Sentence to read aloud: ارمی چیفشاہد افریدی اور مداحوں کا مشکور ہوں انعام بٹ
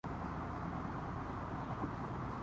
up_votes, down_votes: 0, 2